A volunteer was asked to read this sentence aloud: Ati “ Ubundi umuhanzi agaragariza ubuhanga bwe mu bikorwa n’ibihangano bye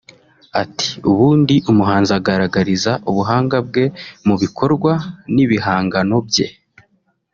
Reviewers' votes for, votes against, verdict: 2, 1, accepted